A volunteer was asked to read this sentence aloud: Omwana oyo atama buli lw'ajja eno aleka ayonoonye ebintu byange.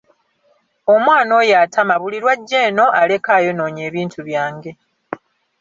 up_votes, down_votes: 2, 0